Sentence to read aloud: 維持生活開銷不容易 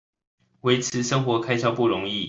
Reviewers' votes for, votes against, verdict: 2, 1, accepted